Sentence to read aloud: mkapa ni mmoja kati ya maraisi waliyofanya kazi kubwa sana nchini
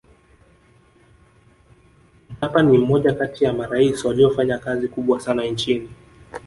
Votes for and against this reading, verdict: 5, 1, accepted